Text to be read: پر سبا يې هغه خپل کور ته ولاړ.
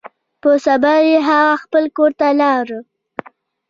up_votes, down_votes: 1, 2